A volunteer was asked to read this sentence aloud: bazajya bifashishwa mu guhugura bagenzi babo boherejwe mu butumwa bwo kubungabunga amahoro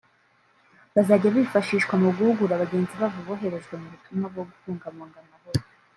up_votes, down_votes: 0, 2